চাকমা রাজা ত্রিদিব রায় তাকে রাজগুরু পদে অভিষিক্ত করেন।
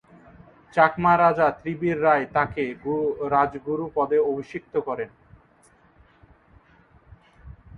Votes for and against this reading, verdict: 1, 2, rejected